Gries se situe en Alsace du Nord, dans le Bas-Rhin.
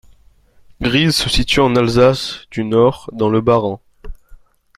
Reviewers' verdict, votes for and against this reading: accepted, 2, 0